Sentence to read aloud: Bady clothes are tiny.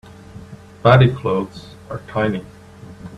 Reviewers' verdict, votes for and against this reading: accepted, 2, 0